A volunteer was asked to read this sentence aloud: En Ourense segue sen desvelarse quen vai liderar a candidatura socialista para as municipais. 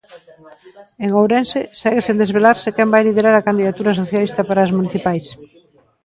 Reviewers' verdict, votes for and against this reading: rejected, 1, 2